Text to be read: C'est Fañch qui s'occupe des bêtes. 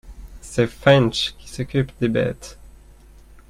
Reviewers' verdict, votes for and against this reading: accepted, 2, 0